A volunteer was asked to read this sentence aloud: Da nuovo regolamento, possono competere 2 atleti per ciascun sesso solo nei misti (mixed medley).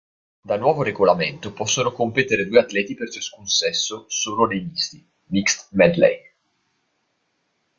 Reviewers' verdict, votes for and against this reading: rejected, 0, 2